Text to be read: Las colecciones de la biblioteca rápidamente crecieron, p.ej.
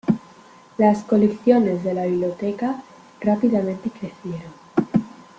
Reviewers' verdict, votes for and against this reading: rejected, 0, 2